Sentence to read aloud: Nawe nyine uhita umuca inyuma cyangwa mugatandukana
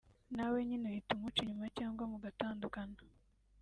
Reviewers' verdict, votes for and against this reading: accepted, 2, 0